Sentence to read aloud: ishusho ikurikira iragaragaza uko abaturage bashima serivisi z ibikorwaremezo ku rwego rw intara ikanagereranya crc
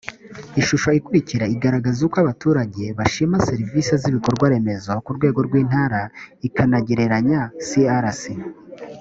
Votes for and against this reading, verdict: 2, 0, accepted